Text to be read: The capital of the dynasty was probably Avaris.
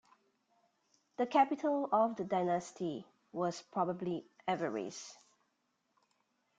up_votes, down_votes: 2, 0